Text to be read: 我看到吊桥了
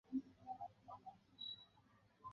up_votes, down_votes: 3, 1